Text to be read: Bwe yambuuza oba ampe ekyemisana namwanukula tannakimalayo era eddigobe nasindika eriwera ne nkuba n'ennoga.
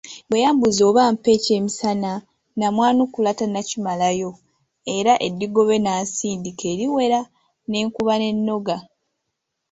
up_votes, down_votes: 2, 0